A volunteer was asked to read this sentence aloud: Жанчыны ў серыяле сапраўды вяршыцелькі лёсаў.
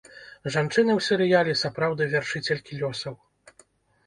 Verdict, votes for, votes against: rejected, 1, 2